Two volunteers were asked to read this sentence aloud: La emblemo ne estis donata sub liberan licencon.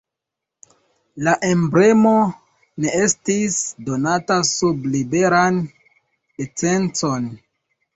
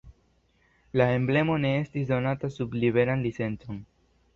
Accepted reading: second